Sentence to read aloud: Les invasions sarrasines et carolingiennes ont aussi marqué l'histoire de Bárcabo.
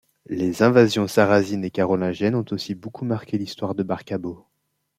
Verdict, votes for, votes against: rejected, 0, 2